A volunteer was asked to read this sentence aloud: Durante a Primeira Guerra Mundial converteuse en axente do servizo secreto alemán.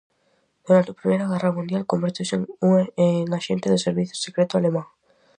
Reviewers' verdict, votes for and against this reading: rejected, 0, 4